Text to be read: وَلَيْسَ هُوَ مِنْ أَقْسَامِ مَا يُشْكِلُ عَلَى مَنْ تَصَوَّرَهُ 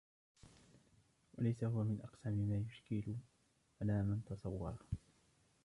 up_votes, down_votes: 1, 2